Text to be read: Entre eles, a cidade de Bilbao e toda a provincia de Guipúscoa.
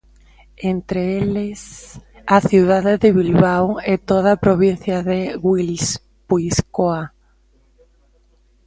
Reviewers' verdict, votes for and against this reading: rejected, 0, 2